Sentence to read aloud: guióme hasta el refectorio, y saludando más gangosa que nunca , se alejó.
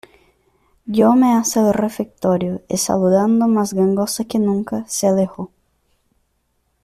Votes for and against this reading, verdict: 1, 2, rejected